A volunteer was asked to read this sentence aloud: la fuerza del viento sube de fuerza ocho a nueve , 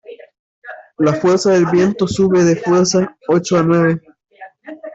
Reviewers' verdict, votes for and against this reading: accepted, 2, 0